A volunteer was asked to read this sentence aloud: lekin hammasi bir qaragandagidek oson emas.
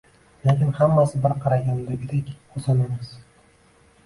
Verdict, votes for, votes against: accepted, 2, 1